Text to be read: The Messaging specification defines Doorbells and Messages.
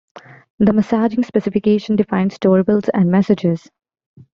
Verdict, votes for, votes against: rejected, 0, 2